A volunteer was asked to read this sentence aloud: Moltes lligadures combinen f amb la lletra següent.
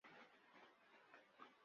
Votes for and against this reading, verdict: 0, 2, rejected